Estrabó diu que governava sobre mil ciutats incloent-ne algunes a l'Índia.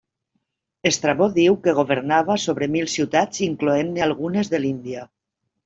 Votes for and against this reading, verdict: 1, 2, rejected